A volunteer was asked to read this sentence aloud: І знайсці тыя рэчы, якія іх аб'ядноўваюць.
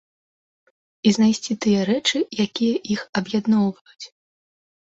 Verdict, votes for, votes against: accepted, 3, 0